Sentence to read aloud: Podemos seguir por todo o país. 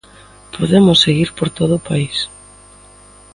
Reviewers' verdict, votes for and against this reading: accepted, 2, 0